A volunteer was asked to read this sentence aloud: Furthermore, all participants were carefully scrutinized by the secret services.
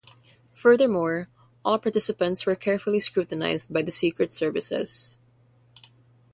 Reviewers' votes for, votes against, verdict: 3, 0, accepted